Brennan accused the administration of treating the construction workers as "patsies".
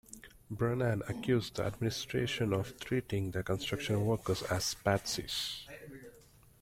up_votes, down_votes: 2, 0